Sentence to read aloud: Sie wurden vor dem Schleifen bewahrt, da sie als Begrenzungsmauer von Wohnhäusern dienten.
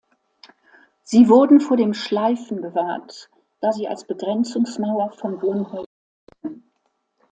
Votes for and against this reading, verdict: 0, 2, rejected